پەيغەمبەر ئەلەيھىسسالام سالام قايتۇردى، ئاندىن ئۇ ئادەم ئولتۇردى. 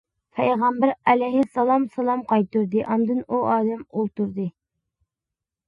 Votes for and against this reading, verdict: 2, 0, accepted